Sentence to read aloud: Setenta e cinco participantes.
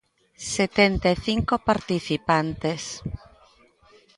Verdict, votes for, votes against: accepted, 2, 0